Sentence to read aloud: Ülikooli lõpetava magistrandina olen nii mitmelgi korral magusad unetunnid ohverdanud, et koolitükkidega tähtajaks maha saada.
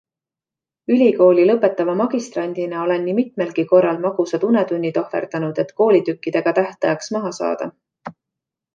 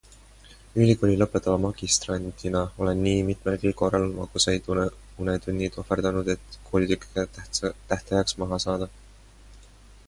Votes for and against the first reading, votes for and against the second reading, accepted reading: 2, 0, 0, 2, first